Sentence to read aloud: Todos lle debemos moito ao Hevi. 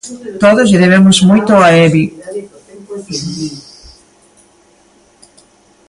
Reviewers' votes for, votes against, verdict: 0, 2, rejected